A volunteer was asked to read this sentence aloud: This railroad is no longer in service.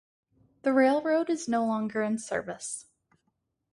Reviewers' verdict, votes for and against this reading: rejected, 0, 2